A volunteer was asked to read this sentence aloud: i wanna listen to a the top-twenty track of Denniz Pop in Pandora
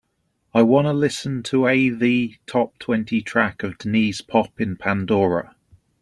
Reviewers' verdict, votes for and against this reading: accepted, 2, 0